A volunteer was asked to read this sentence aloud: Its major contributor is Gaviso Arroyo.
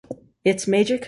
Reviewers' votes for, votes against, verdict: 0, 2, rejected